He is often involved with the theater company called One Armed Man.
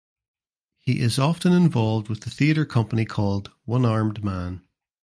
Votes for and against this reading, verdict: 3, 0, accepted